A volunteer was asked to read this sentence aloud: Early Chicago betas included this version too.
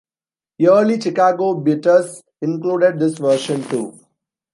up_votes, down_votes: 1, 2